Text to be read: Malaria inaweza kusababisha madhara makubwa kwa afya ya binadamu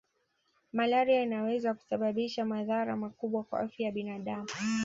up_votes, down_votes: 2, 1